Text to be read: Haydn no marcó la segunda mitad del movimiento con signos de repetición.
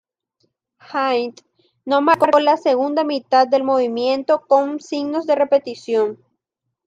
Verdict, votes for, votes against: rejected, 1, 2